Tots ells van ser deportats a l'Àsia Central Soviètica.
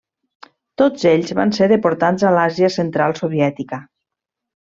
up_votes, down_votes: 2, 0